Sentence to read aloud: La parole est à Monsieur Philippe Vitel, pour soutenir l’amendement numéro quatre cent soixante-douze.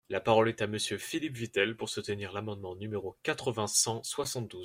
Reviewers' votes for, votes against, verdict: 1, 2, rejected